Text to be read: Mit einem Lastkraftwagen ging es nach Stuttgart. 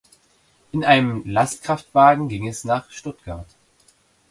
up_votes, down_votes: 0, 2